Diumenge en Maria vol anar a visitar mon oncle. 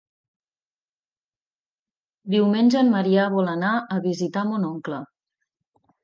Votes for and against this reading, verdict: 0, 2, rejected